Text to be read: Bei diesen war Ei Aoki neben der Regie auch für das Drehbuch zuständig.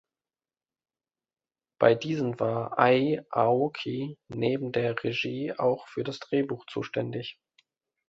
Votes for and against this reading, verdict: 2, 1, accepted